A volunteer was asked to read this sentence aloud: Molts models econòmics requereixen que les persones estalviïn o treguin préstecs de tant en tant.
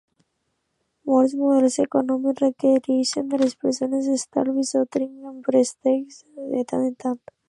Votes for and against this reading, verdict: 0, 2, rejected